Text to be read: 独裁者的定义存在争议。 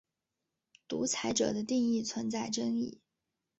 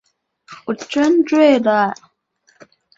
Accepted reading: first